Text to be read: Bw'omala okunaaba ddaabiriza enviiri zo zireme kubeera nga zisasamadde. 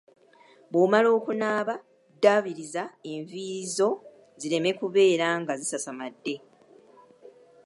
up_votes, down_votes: 2, 0